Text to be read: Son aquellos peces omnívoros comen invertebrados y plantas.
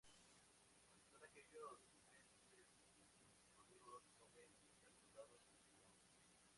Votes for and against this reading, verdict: 2, 4, rejected